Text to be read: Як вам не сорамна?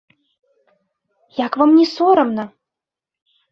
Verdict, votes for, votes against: accepted, 3, 0